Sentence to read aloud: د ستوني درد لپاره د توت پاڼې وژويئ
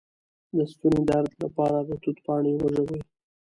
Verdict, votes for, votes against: accepted, 2, 0